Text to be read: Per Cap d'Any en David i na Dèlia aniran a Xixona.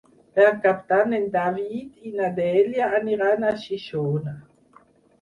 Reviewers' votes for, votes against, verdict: 6, 0, accepted